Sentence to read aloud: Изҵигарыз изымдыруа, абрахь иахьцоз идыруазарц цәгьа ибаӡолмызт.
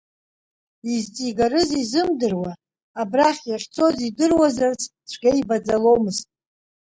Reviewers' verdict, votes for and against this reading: accepted, 2, 0